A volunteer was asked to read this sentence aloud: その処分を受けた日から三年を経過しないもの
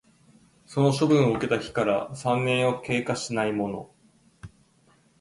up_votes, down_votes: 2, 0